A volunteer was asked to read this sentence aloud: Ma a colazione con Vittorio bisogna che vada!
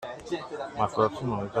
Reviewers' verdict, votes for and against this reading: rejected, 0, 2